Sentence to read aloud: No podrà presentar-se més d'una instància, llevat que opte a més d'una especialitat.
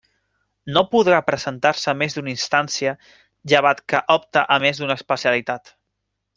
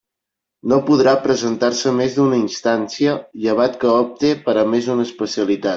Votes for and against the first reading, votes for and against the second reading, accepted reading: 2, 0, 0, 2, first